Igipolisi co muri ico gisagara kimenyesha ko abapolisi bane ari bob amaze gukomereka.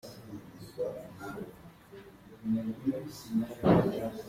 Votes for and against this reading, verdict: 0, 2, rejected